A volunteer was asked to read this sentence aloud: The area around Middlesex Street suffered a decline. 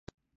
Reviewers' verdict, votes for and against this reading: rejected, 0, 4